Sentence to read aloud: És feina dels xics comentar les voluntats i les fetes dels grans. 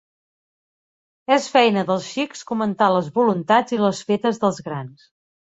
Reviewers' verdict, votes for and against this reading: accepted, 3, 0